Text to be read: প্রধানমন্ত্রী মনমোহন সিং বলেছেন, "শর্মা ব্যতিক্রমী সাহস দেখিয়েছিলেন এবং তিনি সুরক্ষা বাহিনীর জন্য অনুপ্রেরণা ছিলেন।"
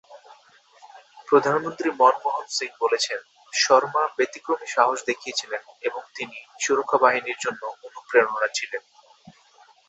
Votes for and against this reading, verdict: 0, 2, rejected